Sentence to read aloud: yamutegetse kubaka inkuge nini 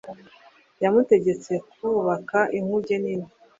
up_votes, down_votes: 2, 0